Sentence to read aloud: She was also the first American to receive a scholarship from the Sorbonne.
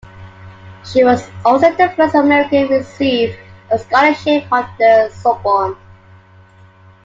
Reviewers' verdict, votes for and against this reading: rejected, 1, 2